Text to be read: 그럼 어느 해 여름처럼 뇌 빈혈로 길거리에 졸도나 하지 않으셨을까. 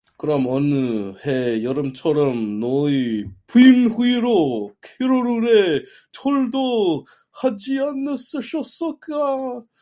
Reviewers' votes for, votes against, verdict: 0, 2, rejected